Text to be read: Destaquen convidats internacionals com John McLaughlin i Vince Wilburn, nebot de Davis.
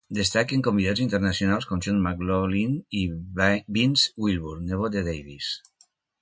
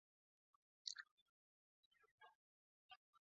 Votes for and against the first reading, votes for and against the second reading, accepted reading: 2, 1, 0, 2, first